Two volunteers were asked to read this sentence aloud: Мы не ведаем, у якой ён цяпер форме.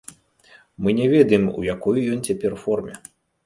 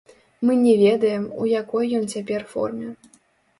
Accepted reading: first